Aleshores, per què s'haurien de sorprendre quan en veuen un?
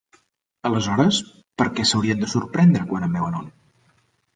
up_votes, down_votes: 2, 0